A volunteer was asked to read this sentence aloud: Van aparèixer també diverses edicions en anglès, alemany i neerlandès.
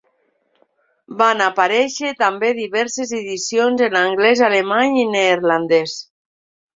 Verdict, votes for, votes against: accepted, 3, 0